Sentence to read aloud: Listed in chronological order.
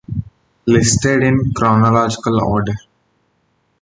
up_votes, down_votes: 2, 0